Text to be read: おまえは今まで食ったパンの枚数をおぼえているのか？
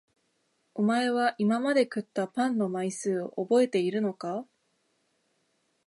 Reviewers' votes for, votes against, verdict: 2, 0, accepted